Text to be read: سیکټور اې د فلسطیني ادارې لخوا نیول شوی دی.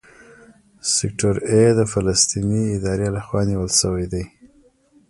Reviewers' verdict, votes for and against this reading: rejected, 1, 2